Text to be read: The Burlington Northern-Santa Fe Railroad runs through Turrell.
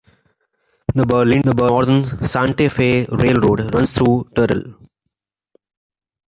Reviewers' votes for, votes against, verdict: 1, 2, rejected